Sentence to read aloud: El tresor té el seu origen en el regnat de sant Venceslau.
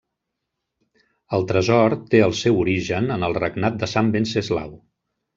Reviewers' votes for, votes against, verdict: 3, 0, accepted